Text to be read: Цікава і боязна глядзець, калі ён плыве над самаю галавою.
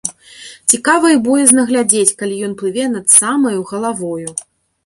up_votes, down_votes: 2, 0